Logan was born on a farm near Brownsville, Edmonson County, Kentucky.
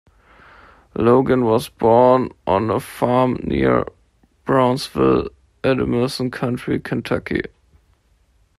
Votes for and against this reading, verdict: 0, 2, rejected